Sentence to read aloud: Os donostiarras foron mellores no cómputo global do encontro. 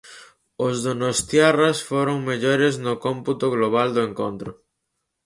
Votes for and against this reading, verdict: 4, 0, accepted